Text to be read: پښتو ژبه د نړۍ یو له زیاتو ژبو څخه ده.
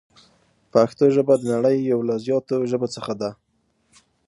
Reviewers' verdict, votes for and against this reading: accepted, 7, 0